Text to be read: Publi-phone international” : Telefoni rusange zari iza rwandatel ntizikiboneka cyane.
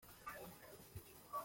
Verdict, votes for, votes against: rejected, 0, 2